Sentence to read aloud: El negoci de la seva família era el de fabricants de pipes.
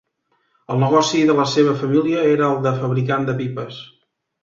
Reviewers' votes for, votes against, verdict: 2, 0, accepted